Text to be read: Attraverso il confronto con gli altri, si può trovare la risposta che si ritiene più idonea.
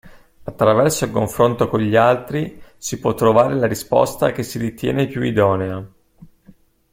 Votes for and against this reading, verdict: 2, 0, accepted